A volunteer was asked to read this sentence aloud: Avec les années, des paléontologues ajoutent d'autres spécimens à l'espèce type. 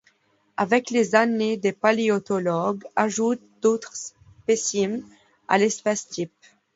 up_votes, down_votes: 1, 2